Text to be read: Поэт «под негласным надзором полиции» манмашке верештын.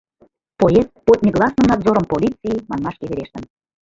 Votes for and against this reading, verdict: 1, 2, rejected